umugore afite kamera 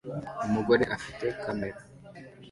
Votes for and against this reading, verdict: 2, 0, accepted